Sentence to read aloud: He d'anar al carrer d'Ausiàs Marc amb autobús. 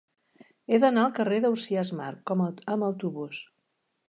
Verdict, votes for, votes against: rejected, 0, 2